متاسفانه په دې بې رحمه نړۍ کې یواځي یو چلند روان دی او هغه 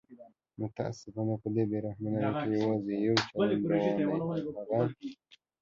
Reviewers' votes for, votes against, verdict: 0, 2, rejected